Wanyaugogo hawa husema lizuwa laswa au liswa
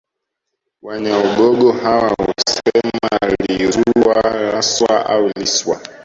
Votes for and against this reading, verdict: 0, 2, rejected